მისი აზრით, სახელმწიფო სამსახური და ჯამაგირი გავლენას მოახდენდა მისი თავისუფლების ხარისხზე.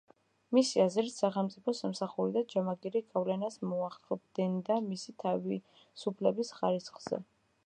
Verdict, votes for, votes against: rejected, 1, 2